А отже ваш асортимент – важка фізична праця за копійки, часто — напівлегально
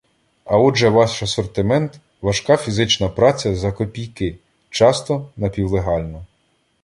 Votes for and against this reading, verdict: 2, 0, accepted